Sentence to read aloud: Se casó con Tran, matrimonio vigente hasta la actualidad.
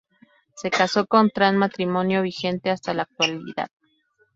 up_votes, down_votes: 0, 2